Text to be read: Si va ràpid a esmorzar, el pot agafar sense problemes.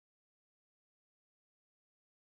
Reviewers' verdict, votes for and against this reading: rejected, 0, 2